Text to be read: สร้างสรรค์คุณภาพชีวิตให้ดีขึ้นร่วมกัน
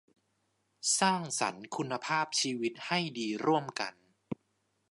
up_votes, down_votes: 0, 2